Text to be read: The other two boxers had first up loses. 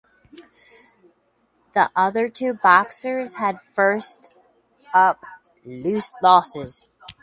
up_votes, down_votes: 2, 2